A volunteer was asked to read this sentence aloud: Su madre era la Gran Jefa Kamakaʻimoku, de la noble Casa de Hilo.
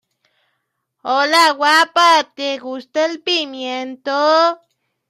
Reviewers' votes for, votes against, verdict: 0, 2, rejected